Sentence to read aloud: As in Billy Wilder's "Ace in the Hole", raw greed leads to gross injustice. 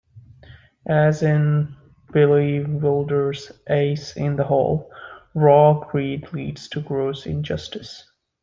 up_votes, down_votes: 2, 0